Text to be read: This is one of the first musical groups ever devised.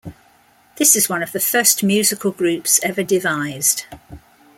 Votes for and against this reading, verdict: 2, 0, accepted